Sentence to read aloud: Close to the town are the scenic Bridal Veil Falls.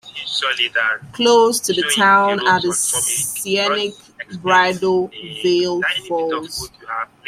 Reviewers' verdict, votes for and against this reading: rejected, 1, 2